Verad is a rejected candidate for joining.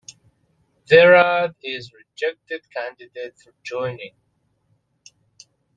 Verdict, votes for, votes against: rejected, 0, 2